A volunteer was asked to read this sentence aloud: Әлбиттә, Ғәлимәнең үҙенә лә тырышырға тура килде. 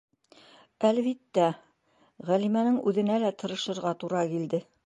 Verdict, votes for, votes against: accepted, 2, 0